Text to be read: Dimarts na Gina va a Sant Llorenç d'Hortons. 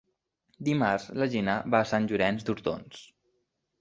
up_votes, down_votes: 3, 0